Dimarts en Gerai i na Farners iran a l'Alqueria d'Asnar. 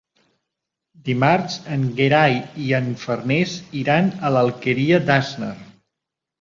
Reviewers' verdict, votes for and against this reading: rejected, 0, 2